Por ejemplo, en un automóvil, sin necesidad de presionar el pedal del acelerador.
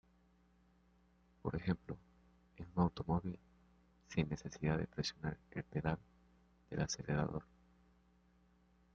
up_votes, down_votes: 1, 2